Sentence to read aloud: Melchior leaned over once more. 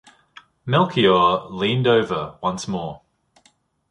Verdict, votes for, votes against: accepted, 2, 0